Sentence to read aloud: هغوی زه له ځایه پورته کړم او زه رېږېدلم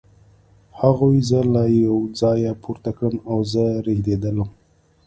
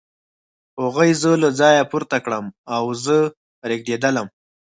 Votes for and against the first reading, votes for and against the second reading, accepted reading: 1, 2, 4, 0, second